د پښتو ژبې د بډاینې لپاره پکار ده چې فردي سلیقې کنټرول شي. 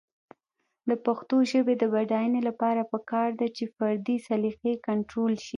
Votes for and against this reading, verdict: 1, 2, rejected